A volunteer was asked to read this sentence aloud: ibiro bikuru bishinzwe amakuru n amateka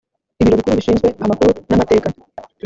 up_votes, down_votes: 1, 2